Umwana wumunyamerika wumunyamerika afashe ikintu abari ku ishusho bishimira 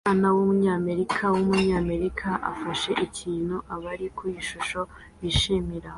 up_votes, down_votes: 2, 0